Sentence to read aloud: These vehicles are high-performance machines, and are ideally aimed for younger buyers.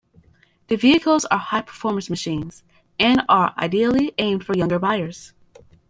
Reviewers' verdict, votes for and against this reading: rejected, 1, 2